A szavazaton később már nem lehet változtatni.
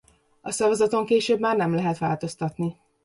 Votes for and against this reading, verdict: 2, 0, accepted